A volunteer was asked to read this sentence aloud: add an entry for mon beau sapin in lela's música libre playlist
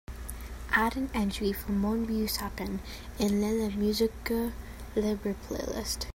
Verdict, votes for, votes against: accepted, 2, 1